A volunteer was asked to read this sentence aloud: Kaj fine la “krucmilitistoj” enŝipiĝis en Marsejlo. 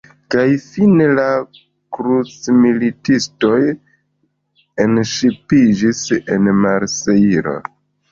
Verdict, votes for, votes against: accepted, 3, 1